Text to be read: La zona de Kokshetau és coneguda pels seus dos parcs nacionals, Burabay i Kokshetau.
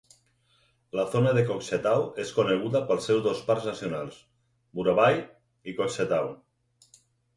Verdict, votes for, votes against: accepted, 4, 2